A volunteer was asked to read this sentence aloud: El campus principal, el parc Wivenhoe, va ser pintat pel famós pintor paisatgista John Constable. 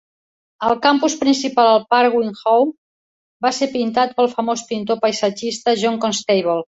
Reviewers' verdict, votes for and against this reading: accepted, 3, 0